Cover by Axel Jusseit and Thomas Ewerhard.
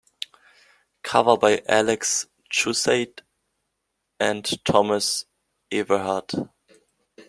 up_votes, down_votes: 2, 1